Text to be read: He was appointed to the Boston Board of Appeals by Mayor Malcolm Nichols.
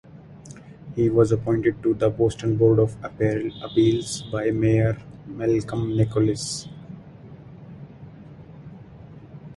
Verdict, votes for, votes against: rejected, 0, 2